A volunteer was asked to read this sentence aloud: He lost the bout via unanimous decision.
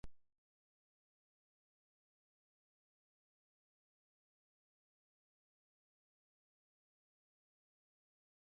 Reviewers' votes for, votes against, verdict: 1, 3, rejected